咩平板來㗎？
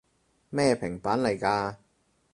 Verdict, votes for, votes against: rejected, 2, 4